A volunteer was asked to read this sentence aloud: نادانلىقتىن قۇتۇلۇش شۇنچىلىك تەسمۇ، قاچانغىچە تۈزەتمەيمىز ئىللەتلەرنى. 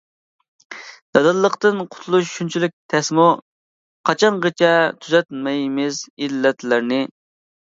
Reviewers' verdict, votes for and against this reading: accepted, 2, 0